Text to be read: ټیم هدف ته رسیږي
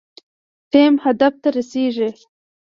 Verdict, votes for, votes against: rejected, 1, 2